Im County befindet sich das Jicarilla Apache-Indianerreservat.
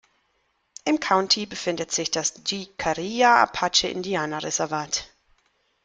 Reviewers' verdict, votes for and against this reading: rejected, 0, 2